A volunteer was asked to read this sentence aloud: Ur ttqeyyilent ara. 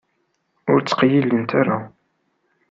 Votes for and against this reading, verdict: 2, 0, accepted